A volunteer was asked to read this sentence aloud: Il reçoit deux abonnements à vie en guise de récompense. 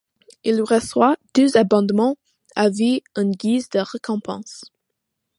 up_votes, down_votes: 2, 0